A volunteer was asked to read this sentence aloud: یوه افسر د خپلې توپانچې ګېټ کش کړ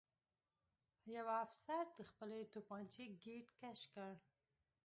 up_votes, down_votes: 1, 2